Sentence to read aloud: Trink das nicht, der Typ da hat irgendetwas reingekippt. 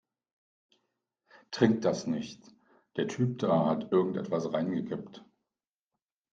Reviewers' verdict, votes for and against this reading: accepted, 2, 0